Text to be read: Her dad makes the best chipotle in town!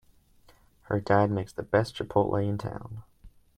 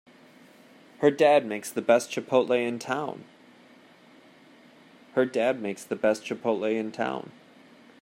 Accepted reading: first